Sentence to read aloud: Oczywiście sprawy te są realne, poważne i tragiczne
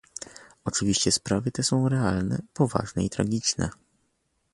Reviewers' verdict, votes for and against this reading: accepted, 2, 0